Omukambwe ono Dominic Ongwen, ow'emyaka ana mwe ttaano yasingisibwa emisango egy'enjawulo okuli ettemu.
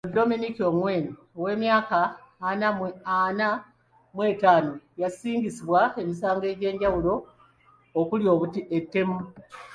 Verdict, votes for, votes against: rejected, 0, 2